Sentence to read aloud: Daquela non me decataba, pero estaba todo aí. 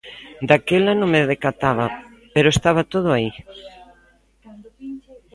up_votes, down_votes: 1, 2